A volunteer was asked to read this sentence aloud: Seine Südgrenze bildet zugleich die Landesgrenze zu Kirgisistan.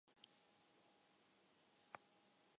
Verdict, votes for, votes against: rejected, 0, 2